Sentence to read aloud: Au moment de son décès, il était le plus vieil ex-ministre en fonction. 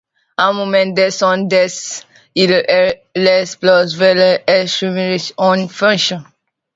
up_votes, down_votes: 0, 2